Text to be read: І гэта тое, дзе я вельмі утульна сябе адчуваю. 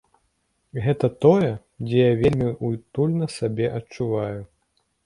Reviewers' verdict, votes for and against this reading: rejected, 1, 2